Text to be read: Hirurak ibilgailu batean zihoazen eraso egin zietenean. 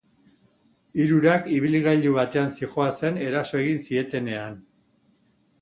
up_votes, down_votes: 2, 0